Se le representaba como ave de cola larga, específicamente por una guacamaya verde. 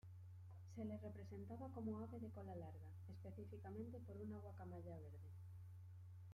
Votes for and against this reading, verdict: 1, 2, rejected